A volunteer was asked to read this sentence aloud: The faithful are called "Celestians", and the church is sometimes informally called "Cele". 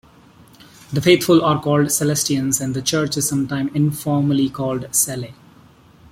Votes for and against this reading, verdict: 2, 0, accepted